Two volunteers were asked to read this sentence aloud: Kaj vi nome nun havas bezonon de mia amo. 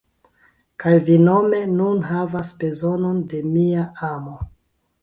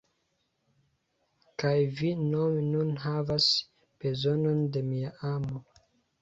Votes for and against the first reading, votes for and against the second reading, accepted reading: 2, 1, 1, 2, first